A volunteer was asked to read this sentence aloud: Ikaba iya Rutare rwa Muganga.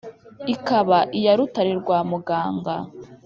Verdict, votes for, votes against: accepted, 2, 0